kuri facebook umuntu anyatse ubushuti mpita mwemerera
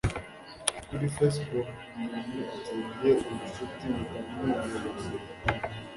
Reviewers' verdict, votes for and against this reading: rejected, 1, 2